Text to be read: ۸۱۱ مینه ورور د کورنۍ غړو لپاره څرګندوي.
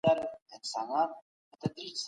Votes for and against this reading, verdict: 0, 2, rejected